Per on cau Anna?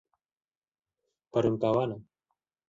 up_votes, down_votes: 0, 2